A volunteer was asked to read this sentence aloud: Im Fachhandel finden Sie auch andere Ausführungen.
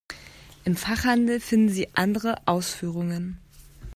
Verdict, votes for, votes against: rejected, 1, 2